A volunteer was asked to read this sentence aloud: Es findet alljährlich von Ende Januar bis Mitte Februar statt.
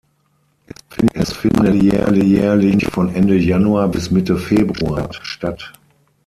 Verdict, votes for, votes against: rejected, 3, 6